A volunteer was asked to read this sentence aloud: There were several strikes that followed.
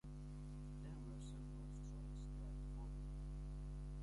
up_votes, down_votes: 0, 2